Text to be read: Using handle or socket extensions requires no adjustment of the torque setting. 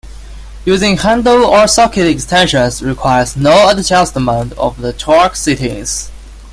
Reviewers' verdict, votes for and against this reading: rejected, 0, 2